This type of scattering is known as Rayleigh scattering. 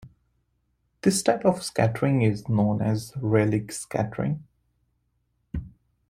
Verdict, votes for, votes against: accepted, 2, 0